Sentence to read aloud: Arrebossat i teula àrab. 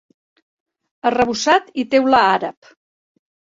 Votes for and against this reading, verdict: 3, 0, accepted